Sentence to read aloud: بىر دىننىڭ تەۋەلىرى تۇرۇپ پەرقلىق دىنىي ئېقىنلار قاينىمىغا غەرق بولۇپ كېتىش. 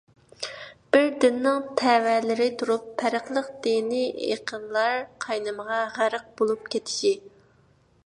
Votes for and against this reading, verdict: 1, 2, rejected